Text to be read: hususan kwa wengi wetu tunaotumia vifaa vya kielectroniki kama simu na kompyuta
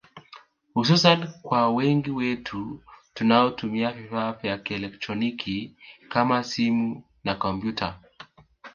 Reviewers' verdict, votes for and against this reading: accepted, 2, 0